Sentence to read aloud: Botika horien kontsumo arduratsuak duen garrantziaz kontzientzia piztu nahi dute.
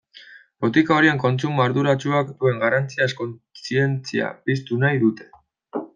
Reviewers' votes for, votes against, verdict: 1, 2, rejected